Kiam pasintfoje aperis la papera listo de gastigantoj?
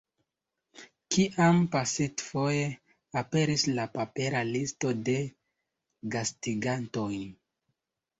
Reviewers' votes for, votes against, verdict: 2, 0, accepted